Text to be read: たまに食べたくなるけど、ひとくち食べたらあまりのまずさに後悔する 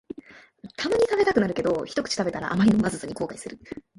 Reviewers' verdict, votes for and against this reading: rejected, 1, 2